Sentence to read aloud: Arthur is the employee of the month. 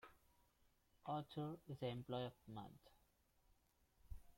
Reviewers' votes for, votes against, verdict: 0, 2, rejected